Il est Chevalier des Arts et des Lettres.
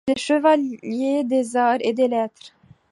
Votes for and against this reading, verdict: 2, 0, accepted